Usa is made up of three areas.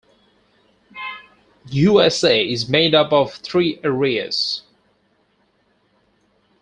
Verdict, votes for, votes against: accepted, 4, 0